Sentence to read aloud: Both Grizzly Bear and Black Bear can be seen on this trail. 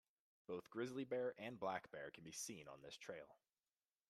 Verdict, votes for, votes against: accepted, 2, 0